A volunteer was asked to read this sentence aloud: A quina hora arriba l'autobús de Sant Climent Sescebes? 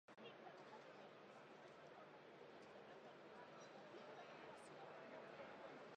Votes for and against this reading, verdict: 0, 2, rejected